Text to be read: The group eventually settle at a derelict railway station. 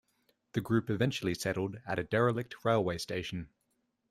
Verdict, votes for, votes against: rejected, 1, 2